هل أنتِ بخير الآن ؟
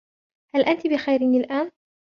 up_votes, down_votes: 0, 2